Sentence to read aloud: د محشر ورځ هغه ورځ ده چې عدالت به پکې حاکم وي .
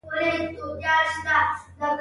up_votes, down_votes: 0, 2